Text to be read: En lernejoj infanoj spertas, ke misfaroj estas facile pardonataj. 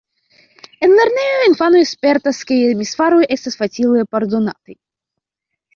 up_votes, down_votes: 0, 2